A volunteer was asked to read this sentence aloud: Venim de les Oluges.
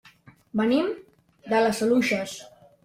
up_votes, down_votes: 1, 2